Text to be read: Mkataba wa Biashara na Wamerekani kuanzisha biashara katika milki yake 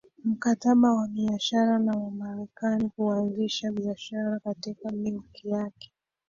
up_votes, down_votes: 2, 0